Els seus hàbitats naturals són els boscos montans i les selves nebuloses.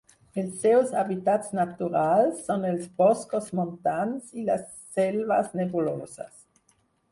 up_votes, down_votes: 2, 4